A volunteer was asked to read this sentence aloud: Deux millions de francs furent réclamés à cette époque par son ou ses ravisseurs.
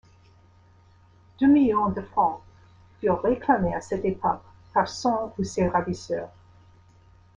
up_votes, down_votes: 2, 0